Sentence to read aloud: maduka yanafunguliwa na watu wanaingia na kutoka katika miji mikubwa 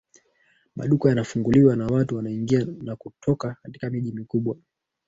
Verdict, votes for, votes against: accepted, 2, 1